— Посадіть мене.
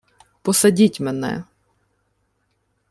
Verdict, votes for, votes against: accepted, 2, 0